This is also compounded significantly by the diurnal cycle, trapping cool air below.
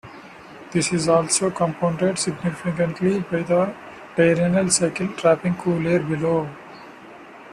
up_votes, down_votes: 2, 0